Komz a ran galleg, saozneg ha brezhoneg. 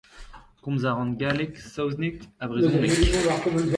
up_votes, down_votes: 1, 2